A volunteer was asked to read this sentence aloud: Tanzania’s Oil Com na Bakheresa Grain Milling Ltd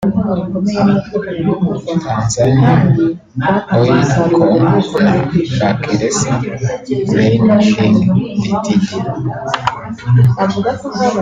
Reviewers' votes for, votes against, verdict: 0, 2, rejected